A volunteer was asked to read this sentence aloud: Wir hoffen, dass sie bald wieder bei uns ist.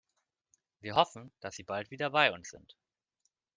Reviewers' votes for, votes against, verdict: 0, 2, rejected